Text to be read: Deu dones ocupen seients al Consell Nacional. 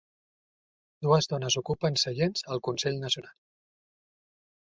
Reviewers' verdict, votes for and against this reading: rejected, 0, 2